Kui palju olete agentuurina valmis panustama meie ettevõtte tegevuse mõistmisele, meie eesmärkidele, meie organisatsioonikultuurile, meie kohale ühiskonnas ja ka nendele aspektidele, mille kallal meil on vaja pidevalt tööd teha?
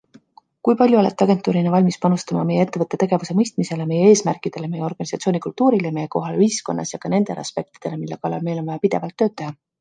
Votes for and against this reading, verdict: 2, 0, accepted